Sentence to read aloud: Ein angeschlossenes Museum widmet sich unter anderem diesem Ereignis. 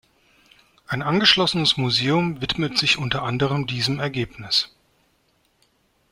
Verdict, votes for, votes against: rejected, 1, 2